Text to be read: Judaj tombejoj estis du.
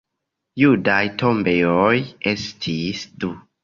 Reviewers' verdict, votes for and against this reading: rejected, 1, 2